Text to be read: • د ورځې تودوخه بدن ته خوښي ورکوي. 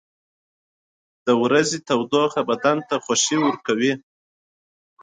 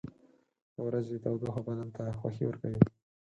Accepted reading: first